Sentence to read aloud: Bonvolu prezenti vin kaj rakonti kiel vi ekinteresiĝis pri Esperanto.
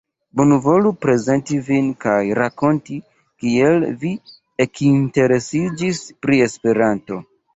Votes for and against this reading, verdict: 2, 0, accepted